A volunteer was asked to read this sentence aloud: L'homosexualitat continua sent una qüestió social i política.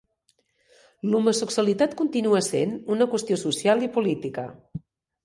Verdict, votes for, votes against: rejected, 1, 2